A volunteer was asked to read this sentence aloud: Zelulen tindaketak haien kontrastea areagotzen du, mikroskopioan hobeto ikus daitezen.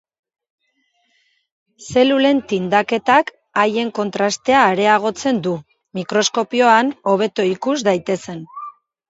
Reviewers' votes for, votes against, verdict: 2, 0, accepted